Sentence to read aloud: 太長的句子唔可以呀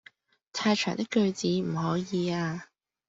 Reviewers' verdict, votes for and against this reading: accepted, 2, 0